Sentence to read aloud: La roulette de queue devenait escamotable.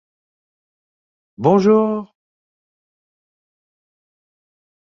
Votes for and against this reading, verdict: 0, 2, rejected